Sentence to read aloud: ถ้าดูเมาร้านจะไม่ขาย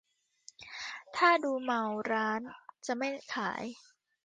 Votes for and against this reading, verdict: 2, 0, accepted